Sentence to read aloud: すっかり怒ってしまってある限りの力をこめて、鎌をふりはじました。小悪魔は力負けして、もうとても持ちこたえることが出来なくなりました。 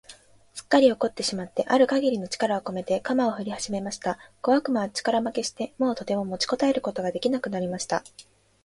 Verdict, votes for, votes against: accepted, 2, 0